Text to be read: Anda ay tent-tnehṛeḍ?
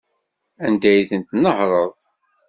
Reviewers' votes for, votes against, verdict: 2, 0, accepted